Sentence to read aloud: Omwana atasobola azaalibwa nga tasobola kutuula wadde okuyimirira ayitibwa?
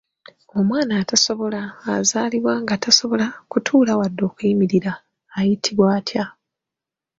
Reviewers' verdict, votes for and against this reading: rejected, 1, 2